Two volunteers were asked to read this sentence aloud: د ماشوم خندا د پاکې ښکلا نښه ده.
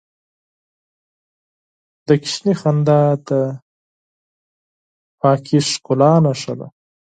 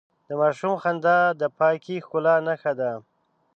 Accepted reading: second